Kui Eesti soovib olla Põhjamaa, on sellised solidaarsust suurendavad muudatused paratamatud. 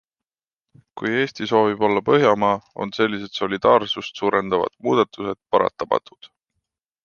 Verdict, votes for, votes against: accepted, 2, 0